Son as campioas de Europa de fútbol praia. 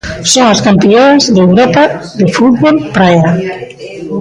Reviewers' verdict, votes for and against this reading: rejected, 1, 2